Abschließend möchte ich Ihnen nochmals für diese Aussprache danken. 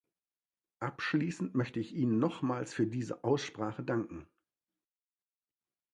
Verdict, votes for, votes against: accepted, 2, 0